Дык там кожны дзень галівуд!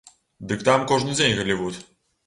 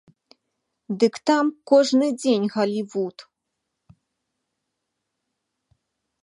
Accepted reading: second